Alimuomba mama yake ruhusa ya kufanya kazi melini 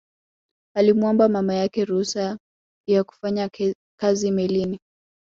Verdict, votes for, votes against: rejected, 1, 2